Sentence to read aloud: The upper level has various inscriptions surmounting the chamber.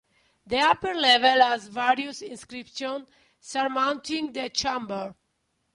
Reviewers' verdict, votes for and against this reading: accepted, 2, 0